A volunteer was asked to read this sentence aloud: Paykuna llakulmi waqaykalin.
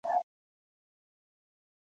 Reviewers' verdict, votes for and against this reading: rejected, 0, 2